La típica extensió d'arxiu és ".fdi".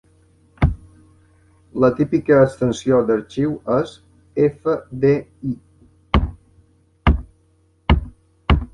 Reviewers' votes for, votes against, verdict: 0, 2, rejected